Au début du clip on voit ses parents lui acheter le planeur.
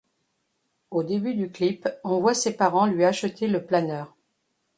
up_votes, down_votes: 2, 0